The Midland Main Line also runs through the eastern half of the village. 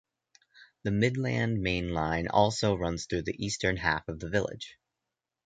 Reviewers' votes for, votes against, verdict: 2, 0, accepted